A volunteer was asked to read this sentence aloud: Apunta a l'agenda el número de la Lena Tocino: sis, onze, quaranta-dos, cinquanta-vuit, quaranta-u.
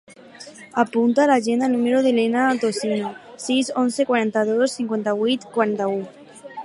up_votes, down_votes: 2, 2